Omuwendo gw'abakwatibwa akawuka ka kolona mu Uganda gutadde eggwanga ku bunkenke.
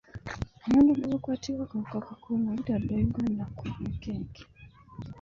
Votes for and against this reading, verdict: 1, 2, rejected